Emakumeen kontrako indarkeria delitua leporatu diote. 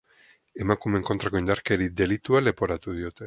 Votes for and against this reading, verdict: 4, 0, accepted